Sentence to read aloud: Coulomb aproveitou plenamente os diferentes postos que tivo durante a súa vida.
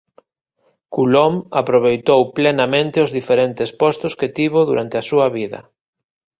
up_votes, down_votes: 2, 0